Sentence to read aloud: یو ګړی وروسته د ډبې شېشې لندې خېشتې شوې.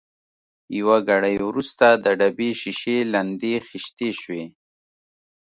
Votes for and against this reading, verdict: 2, 0, accepted